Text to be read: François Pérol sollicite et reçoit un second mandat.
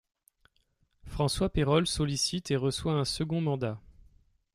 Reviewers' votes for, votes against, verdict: 1, 2, rejected